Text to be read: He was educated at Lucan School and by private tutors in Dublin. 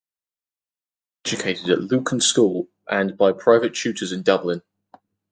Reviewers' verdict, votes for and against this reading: rejected, 0, 4